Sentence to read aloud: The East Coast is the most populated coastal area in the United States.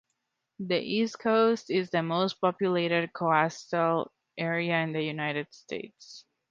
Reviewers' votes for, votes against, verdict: 1, 2, rejected